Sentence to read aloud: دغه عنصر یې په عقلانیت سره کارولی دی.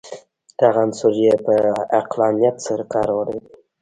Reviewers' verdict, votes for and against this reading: rejected, 0, 2